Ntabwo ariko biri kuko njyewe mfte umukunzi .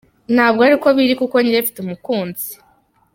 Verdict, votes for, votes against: accepted, 2, 0